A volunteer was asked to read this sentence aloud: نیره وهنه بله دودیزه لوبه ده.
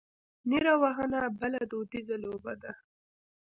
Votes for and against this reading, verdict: 1, 2, rejected